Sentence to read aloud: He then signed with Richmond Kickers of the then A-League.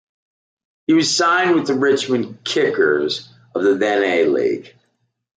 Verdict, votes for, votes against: rejected, 1, 2